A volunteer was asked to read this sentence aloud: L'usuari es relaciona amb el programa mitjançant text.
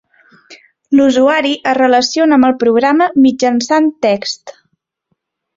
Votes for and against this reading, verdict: 3, 0, accepted